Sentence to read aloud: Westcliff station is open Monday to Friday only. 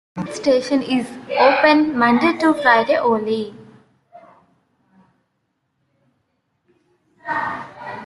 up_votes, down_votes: 1, 2